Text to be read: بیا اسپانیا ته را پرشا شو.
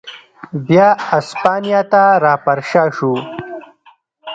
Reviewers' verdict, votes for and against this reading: accepted, 2, 1